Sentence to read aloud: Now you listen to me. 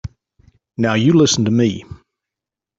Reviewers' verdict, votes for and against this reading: accepted, 3, 0